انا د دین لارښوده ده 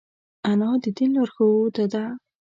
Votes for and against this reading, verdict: 3, 0, accepted